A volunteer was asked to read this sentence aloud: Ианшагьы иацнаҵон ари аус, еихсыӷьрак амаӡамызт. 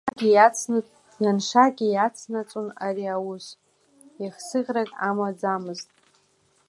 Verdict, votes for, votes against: accepted, 2, 1